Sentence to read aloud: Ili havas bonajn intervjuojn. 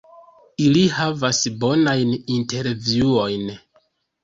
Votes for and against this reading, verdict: 1, 2, rejected